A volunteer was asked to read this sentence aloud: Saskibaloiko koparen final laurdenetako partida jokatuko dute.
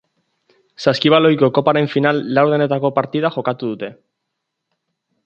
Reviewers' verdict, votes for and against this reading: rejected, 0, 2